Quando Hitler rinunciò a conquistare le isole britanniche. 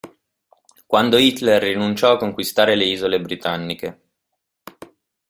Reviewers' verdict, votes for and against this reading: accepted, 2, 0